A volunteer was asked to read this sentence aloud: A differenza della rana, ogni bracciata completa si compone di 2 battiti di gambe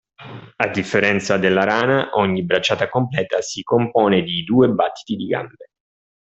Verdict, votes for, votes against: rejected, 0, 2